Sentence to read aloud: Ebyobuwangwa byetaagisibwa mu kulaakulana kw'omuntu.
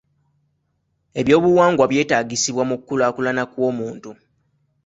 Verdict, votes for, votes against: accepted, 2, 0